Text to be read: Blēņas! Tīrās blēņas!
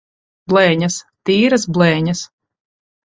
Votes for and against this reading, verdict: 0, 4, rejected